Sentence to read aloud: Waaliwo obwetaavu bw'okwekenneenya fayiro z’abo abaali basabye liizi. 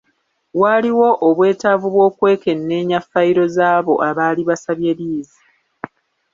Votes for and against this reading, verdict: 1, 2, rejected